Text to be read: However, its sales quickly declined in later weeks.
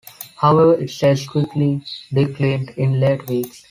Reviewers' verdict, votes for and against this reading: rejected, 0, 2